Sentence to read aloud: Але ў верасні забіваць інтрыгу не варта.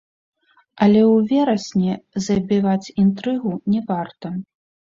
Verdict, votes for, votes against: rejected, 0, 2